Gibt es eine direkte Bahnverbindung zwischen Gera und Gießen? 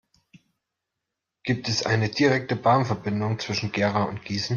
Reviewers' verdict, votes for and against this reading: accepted, 2, 0